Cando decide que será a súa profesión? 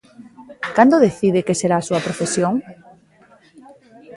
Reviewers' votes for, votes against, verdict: 1, 2, rejected